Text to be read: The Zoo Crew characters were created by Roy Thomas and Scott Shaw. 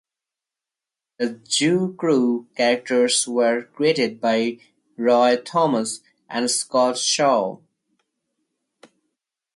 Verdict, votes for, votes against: accepted, 2, 0